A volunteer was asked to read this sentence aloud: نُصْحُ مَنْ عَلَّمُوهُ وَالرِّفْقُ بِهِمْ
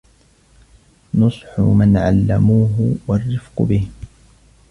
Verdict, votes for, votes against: accepted, 2, 1